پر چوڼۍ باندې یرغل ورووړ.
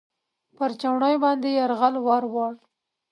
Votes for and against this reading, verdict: 2, 0, accepted